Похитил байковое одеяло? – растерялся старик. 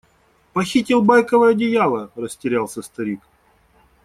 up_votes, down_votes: 2, 0